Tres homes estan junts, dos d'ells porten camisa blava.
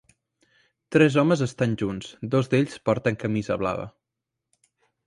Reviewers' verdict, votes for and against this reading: accepted, 3, 0